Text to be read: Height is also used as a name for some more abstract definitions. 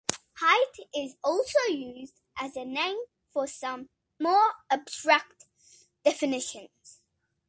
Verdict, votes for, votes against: accepted, 2, 0